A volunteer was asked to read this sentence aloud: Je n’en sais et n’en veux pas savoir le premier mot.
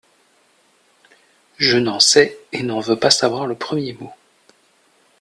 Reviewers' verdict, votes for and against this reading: accepted, 2, 0